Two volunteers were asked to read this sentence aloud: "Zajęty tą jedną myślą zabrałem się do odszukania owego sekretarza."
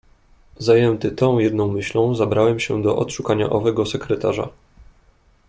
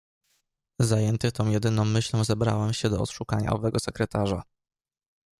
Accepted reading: first